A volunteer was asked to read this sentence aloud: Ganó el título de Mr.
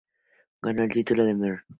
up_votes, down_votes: 0, 2